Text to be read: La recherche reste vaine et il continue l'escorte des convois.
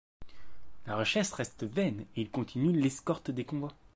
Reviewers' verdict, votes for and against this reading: rejected, 0, 2